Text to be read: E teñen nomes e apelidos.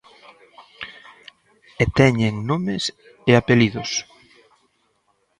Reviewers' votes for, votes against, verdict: 2, 0, accepted